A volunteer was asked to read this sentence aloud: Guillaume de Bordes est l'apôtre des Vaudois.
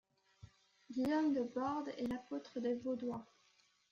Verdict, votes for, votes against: accepted, 2, 1